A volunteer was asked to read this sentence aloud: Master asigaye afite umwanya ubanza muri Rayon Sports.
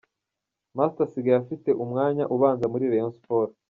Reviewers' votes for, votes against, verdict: 2, 1, accepted